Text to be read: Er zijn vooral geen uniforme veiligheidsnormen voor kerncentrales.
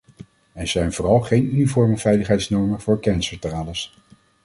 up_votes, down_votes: 2, 0